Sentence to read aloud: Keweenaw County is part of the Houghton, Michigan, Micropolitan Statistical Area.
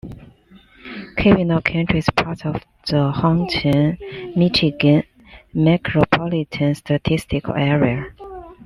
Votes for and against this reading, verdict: 2, 0, accepted